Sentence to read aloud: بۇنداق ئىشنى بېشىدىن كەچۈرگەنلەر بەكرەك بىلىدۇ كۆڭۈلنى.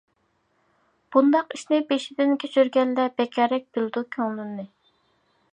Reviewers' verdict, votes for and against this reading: rejected, 0, 2